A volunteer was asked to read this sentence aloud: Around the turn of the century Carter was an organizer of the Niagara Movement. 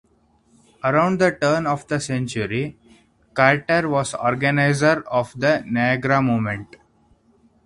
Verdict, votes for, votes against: rejected, 0, 2